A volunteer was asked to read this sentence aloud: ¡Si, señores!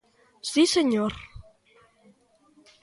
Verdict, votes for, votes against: rejected, 0, 2